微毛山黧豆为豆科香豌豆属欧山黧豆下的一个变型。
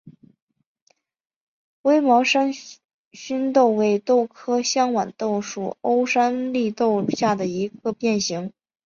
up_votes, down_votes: 2, 0